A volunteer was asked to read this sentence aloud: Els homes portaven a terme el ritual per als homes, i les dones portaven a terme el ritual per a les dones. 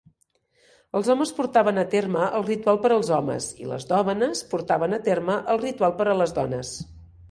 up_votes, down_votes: 1, 2